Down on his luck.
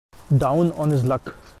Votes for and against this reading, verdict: 2, 0, accepted